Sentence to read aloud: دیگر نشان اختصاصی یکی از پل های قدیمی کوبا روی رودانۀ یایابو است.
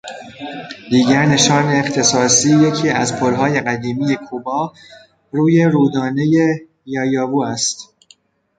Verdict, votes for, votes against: rejected, 0, 2